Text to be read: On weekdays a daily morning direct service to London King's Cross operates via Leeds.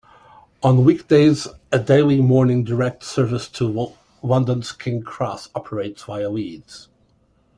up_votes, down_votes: 0, 2